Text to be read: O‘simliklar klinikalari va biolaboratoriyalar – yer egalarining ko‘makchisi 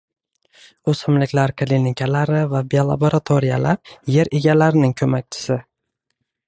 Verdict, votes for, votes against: accepted, 2, 0